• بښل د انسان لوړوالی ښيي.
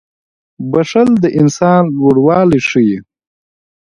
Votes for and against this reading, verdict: 2, 1, accepted